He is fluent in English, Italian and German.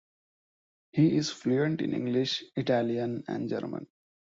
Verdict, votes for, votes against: accepted, 2, 1